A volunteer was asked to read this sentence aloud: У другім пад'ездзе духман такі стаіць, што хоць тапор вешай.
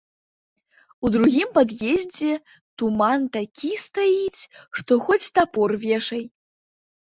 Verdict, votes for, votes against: rejected, 0, 2